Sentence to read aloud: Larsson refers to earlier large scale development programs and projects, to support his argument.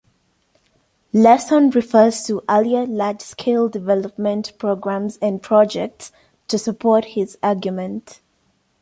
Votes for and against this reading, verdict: 1, 2, rejected